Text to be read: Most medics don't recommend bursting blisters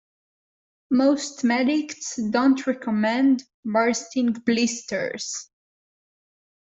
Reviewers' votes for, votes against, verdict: 2, 0, accepted